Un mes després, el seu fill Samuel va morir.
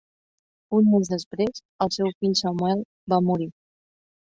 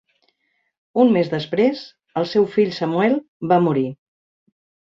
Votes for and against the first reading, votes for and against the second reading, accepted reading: 2, 3, 3, 0, second